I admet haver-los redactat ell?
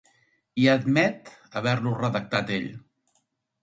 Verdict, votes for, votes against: rejected, 0, 2